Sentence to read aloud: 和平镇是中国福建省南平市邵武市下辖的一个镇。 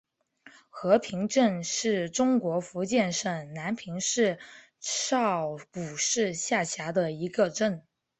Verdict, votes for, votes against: accepted, 5, 0